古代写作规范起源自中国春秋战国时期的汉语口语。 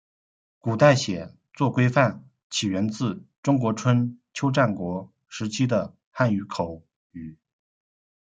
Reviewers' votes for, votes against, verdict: 1, 2, rejected